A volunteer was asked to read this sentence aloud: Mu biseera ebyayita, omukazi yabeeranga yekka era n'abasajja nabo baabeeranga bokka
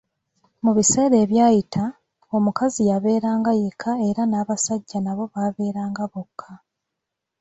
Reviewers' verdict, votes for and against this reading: accepted, 2, 0